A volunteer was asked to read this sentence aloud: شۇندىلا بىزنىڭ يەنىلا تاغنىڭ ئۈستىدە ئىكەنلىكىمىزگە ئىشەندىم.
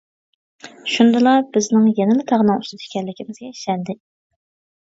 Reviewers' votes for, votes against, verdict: 2, 0, accepted